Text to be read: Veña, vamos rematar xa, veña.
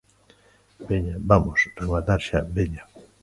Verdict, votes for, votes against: accepted, 2, 0